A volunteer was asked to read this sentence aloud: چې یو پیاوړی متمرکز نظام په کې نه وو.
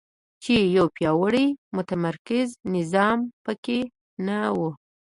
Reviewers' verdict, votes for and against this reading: accepted, 2, 1